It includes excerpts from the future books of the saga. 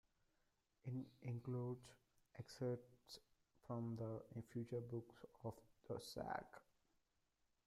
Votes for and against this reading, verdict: 0, 2, rejected